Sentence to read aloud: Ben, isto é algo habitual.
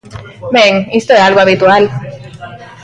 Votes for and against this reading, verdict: 2, 1, accepted